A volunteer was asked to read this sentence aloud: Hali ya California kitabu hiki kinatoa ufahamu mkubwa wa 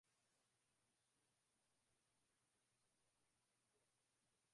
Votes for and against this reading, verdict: 0, 2, rejected